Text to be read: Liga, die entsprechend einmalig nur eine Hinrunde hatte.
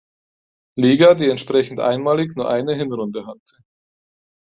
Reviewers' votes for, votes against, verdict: 2, 4, rejected